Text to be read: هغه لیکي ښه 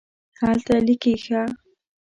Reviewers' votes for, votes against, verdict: 2, 0, accepted